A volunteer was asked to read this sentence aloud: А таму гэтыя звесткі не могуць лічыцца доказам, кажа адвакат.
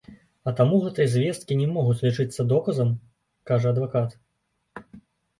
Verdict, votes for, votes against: accepted, 2, 0